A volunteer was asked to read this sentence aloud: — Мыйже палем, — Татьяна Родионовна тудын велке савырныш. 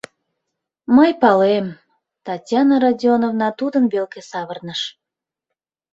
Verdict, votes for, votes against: rejected, 0, 3